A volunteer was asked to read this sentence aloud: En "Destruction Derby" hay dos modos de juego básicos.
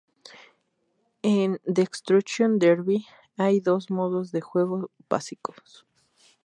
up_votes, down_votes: 0, 2